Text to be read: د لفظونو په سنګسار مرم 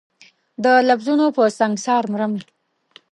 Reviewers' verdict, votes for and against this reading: accepted, 2, 0